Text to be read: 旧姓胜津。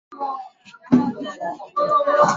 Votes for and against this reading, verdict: 1, 4, rejected